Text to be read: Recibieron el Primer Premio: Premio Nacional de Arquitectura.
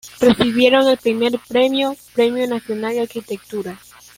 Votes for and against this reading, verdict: 1, 2, rejected